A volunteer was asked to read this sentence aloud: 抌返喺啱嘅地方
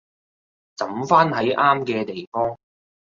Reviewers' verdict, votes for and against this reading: rejected, 1, 2